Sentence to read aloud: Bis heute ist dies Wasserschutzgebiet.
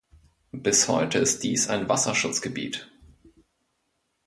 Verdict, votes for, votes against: rejected, 0, 2